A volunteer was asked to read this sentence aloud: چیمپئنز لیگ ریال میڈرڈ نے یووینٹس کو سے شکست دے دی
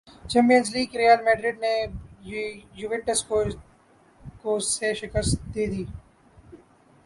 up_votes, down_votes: 3, 0